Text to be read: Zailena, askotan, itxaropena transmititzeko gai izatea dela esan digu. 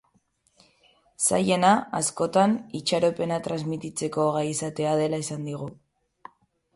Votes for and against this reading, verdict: 9, 0, accepted